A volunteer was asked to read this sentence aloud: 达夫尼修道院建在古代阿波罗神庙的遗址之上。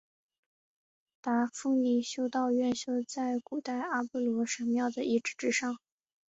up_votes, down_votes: 1, 2